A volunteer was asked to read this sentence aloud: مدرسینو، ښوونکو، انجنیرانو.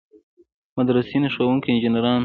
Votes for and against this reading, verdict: 1, 2, rejected